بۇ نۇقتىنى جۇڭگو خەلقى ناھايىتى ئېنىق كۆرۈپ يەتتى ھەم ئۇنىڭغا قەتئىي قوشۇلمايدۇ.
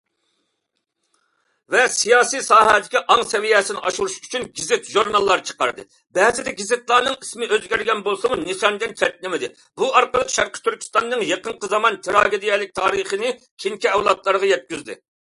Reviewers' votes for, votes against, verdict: 0, 2, rejected